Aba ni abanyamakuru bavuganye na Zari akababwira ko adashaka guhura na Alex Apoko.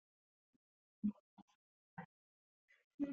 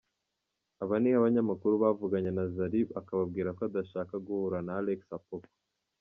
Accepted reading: second